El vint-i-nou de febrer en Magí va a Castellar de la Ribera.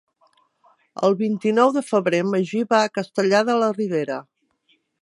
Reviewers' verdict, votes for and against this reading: accepted, 3, 0